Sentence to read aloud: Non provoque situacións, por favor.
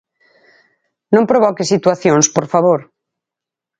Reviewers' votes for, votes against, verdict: 6, 0, accepted